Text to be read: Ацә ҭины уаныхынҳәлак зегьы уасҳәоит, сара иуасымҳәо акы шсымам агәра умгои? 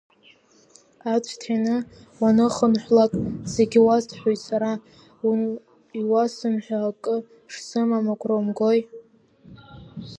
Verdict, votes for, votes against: rejected, 0, 2